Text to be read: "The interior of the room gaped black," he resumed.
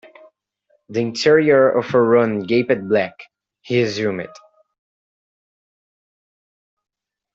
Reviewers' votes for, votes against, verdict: 1, 2, rejected